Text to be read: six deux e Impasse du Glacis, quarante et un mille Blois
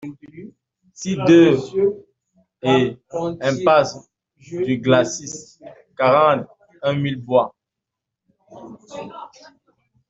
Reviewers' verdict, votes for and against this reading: rejected, 0, 2